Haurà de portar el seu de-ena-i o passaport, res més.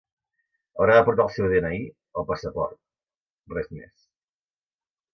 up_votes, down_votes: 3, 0